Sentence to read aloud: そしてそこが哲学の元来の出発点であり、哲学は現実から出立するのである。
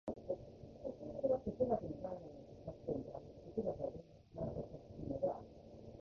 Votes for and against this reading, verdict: 0, 2, rejected